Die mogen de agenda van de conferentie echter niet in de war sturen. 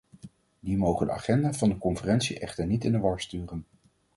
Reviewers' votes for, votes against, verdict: 4, 0, accepted